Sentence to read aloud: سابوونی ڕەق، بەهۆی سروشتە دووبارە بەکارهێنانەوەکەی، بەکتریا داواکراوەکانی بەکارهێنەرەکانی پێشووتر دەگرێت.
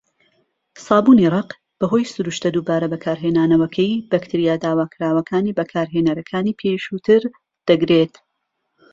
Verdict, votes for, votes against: accepted, 2, 0